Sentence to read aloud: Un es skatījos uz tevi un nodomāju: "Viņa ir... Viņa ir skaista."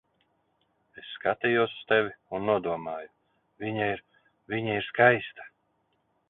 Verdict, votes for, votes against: rejected, 0, 2